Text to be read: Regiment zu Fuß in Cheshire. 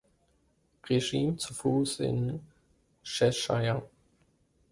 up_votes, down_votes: 0, 3